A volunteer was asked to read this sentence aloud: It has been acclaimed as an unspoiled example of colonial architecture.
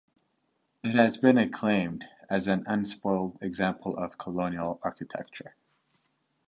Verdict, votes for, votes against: rejected, 1, 2